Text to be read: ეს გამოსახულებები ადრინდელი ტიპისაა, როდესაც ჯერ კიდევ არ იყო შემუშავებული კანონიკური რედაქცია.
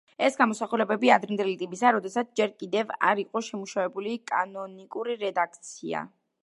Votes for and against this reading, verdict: 1, 2, rejected